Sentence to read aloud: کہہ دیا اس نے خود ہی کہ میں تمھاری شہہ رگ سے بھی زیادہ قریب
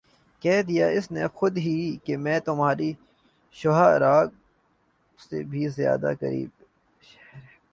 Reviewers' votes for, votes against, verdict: 0, 2, rejected